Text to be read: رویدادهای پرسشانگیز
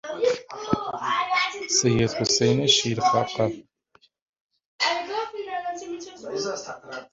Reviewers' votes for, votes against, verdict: 0, 3, rejected